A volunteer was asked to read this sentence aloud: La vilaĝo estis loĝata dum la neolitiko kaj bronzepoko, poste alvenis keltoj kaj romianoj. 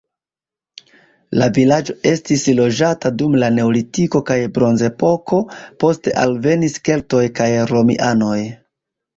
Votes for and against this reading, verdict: 2, 0, accepted